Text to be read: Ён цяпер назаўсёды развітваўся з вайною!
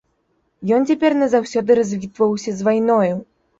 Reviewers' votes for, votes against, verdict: 2, 0, accepted